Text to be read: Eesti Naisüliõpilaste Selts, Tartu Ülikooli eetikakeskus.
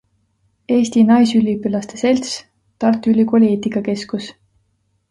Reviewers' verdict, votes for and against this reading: accepted, 2, 0